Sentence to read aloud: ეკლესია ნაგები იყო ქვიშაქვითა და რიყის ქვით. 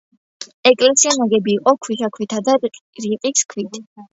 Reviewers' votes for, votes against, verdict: 0, 2, rejected